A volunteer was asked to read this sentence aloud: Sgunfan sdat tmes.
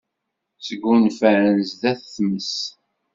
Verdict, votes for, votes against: accepted, 2, 0